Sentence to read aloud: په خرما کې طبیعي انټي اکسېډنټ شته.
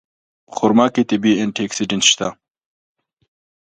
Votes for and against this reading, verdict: 2, 0, accepted